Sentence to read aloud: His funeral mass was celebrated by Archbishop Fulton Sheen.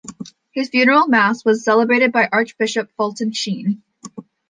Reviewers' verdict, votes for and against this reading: accepted, 2, 0